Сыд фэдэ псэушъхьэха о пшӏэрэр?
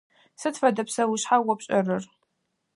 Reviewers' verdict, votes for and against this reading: rejected, 0, 4